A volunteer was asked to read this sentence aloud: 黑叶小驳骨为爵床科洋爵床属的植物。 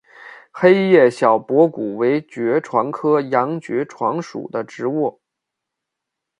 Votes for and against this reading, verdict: 2, 0, accepted